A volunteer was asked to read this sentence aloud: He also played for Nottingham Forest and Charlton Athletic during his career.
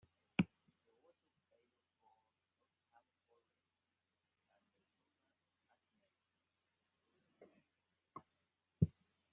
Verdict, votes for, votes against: rejected, 0, 2